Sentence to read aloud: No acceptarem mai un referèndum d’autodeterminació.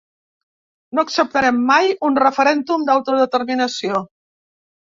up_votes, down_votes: 2, 0